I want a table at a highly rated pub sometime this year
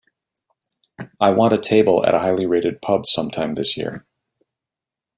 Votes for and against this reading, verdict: 2, 0, accepted